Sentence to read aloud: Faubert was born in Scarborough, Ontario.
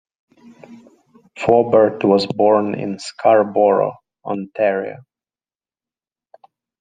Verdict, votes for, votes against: accepted, 2, 0